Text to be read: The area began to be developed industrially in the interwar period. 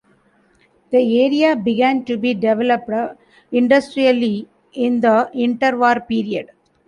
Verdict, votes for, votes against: rejected, 0, 2